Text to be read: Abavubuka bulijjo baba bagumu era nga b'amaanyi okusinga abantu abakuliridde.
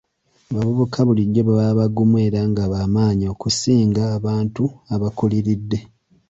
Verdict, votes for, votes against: accepted, 2, 1